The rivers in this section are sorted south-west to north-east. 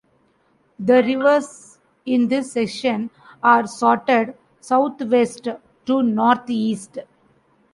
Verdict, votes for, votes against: accepted, 2, 0